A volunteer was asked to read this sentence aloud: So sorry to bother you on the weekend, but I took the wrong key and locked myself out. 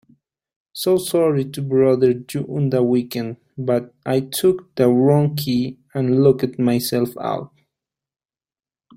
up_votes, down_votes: 1, 2